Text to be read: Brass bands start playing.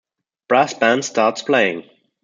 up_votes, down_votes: 1, 2